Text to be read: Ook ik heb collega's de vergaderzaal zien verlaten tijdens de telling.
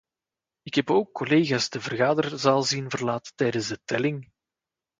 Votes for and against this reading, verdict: 1, 2, rejected